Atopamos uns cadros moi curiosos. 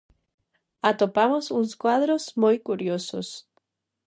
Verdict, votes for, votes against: rejected, 0, 2